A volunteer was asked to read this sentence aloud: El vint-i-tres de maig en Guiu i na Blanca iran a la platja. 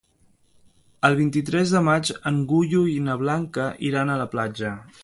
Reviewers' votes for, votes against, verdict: 0, 2, rejected